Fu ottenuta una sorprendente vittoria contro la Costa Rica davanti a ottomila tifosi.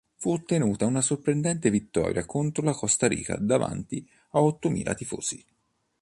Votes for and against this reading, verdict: 2, 0, accepted